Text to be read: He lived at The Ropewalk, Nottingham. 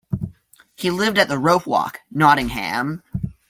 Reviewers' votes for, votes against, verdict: 2, 0, accepted